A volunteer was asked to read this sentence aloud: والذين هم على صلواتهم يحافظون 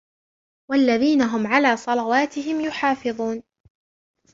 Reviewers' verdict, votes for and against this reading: rejected, 0, 2